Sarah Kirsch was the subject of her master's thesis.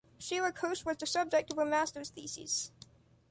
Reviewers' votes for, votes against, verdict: 2, 1, accepted